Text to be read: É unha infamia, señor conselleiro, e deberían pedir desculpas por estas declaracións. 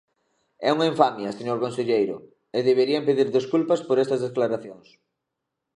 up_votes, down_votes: 2, 0